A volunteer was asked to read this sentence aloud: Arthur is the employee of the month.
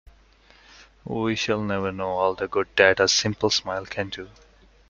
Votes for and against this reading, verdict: 0, 2, rejected